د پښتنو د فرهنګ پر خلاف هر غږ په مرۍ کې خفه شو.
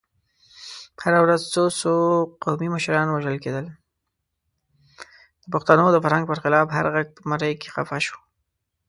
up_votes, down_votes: 0, 2